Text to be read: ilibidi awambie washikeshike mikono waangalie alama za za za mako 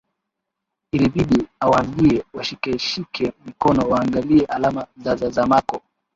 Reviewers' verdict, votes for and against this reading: rejected, 2, 3